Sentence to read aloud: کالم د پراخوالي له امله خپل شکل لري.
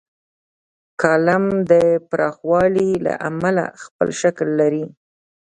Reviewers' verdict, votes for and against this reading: rejected, 0, 2